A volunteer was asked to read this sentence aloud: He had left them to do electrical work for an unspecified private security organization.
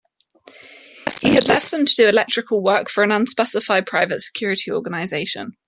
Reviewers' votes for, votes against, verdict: 2, 0, accepted